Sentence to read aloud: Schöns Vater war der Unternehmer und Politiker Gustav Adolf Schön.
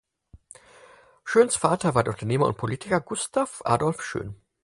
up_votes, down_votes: 4, 0